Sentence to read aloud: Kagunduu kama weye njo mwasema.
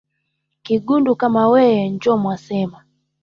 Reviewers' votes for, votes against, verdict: 2, 1, accepted